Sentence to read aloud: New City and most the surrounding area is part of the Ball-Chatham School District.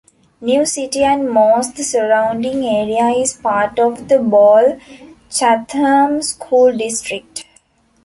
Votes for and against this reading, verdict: 1, 2, rejected